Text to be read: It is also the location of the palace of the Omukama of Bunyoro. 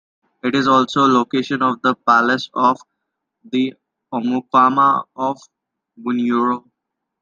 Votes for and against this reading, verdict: 0, 2, rejected